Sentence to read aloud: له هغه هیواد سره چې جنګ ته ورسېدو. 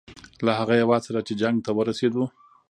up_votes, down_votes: 2, 1